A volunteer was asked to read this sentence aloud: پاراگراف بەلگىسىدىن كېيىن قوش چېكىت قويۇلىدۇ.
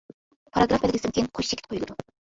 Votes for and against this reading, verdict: 0, 2, rejected